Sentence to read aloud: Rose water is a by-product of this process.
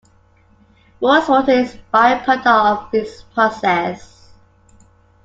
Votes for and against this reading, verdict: 2, 1, accepted